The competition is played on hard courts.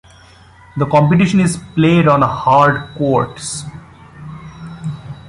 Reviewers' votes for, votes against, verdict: 2, 0, accepted